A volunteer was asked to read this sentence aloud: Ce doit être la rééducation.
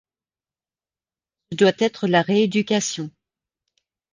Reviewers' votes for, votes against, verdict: 1, 2, rejected